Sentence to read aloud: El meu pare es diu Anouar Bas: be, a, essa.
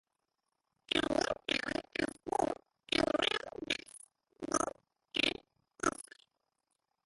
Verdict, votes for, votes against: rejected, 0, 2